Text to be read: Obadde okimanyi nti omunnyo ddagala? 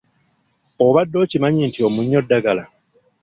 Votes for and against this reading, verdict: 1, 2, rejected